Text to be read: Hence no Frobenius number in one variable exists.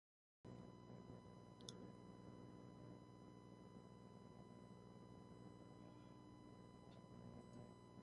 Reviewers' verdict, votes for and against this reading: rejected, 0, 2